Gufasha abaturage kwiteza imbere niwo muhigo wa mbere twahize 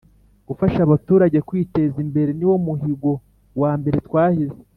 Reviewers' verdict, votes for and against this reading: accepted, 2, 0